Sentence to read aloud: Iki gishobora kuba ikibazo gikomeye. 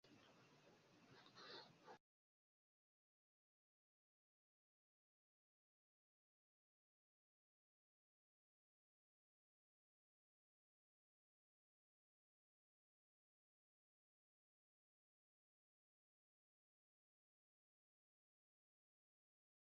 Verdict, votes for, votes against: rejected, 1, 2